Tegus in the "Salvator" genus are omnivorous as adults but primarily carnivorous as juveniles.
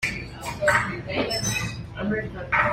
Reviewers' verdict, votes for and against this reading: rejected, 0, 2